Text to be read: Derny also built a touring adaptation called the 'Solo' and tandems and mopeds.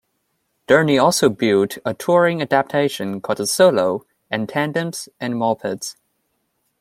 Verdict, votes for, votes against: accepted, 2, 0